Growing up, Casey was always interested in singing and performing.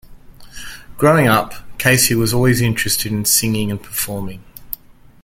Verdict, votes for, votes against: accepted, 2, 0